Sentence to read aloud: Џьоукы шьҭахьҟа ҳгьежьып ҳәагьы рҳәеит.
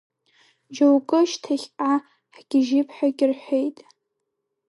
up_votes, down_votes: 1, 2